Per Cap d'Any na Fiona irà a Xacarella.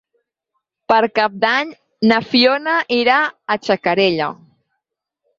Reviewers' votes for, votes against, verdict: 4, 0, accepted